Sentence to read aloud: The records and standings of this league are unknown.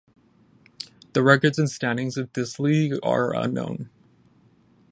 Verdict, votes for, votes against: accepted, 10, 0